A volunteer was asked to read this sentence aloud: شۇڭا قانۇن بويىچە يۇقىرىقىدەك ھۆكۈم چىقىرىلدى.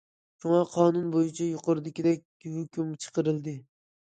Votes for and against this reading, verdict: 0, 2, rejected